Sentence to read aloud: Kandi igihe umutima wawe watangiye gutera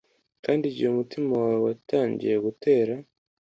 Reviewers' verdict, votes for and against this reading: accepted, 2, 0